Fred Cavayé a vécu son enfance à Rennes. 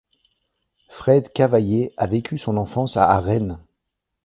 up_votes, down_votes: 0, 2